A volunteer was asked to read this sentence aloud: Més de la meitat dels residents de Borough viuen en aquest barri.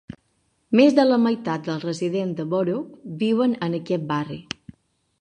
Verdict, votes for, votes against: accepted, 3, 0